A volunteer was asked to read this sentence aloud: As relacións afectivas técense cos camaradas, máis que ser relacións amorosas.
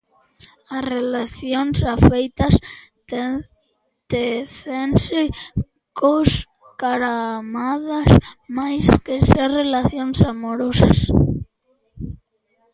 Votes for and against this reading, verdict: 0, 2, rejected